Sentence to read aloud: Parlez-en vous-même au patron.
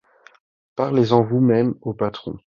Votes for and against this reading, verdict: 2, 0, accepted